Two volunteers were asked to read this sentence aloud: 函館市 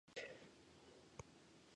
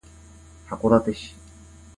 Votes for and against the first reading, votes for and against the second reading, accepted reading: 1, 2, 2, 0, second